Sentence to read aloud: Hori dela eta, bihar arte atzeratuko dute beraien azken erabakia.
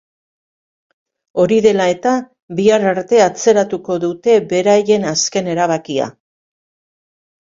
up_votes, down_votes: 2, 1